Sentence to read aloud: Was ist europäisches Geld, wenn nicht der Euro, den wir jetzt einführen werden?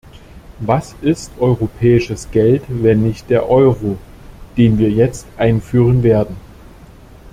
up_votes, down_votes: 2, 0